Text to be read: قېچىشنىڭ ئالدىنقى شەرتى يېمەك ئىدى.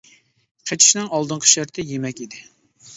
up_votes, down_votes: 2, 0